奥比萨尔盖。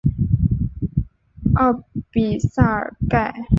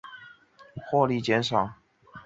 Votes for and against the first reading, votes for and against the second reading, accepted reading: 2, 1, 0, 5, first